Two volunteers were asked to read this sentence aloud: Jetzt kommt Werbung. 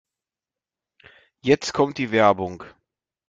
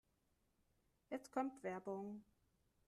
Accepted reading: second